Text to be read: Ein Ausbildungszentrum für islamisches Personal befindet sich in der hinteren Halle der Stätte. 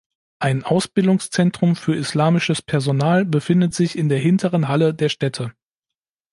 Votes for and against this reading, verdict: 2, 0, accepted